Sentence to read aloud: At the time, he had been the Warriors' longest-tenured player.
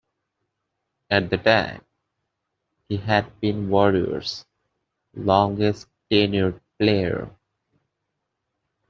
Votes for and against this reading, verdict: 2, 0, accepted